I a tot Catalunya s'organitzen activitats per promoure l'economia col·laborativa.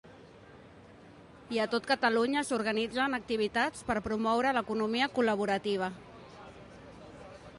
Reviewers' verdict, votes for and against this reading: accepted, 2, 0